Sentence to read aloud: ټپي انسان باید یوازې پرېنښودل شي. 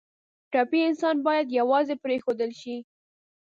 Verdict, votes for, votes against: rejected, 0, 3